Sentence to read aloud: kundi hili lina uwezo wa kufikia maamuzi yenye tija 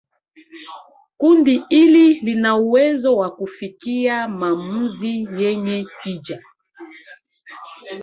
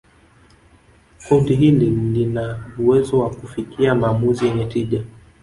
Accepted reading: first